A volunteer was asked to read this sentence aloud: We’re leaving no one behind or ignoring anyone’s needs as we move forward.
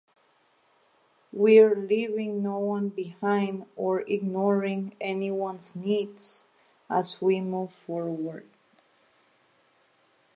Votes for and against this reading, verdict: 2, 0, accepted